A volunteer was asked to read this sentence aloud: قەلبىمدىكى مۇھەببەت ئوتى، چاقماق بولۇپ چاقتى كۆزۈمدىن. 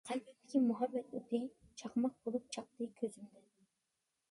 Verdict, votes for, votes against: rejected, 0, 2